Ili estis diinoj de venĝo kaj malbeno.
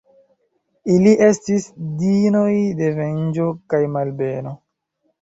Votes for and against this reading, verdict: 2, 0, accepted